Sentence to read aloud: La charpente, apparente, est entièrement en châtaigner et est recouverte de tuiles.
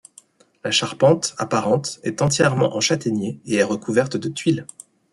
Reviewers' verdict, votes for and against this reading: accepted, 2, 1